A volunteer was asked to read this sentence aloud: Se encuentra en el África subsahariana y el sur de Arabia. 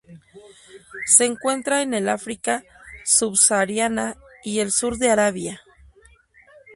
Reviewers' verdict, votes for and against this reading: rejected, 2, 2